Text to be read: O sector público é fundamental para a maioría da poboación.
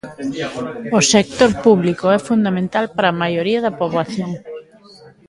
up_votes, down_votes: 2, 0